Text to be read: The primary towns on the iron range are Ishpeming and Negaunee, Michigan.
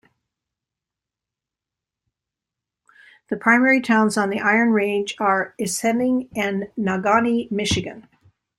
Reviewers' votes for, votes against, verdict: 1, 2, rejected